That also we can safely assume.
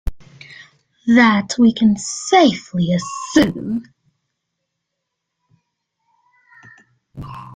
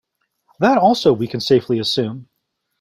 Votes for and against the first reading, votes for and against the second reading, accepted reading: 0, 2, 2, 0, second